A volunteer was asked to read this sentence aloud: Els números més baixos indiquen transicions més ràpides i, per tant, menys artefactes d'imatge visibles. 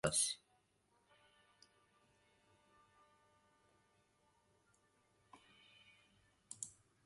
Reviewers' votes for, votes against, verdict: 1, 2, rejected